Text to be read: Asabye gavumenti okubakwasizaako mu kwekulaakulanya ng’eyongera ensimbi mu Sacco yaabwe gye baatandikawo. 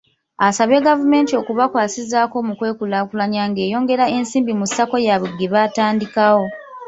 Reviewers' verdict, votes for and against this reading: rejected, 1, 2